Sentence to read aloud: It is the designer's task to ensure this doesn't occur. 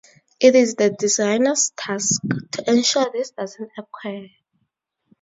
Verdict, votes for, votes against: accepted, 4, 0